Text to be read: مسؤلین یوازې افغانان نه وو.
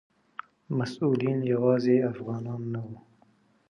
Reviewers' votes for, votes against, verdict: 2, 0, accepted